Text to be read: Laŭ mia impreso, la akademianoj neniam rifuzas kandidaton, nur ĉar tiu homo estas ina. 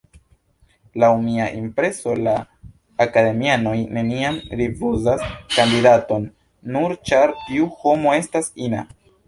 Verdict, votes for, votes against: accepted, 2, 0